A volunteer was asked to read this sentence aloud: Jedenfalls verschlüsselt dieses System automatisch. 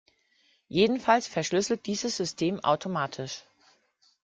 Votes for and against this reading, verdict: 2, 0, accepted